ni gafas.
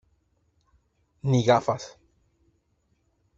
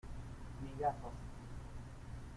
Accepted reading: first